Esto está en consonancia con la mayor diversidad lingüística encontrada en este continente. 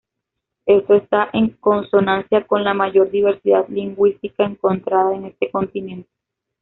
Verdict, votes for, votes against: accepted, 2, 0